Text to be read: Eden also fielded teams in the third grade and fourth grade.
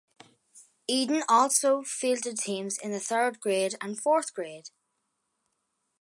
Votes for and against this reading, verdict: 2, 0, accepted